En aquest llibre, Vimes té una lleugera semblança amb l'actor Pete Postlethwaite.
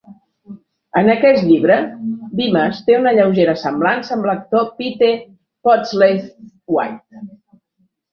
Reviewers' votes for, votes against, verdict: 1, 2, rejected